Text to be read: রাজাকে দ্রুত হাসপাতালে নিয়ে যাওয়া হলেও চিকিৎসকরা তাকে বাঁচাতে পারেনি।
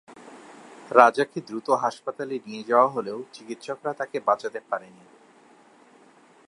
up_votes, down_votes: 8, 0